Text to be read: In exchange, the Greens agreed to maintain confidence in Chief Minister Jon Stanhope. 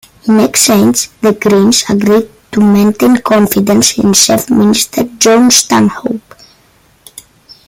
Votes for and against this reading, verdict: 2, 1, accepted